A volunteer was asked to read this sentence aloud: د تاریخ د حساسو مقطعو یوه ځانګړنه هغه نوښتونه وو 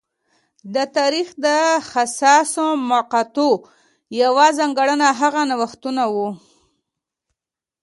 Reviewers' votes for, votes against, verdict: 0, 2, rejected